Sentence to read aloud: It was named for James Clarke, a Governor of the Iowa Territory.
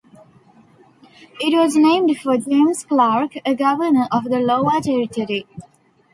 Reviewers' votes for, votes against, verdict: 1, 2, rejected